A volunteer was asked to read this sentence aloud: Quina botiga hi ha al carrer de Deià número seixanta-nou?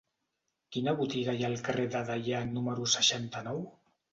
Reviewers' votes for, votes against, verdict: 2, 0, accepted